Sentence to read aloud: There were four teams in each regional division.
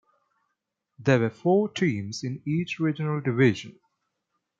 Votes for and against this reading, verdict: 2, 0, accepted